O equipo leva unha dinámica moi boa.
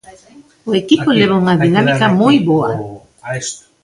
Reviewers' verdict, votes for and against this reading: rejected, 0, 2